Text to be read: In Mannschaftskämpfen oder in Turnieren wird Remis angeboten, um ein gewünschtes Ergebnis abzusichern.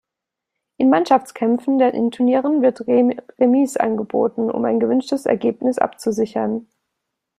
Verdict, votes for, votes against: rejected, 1, 2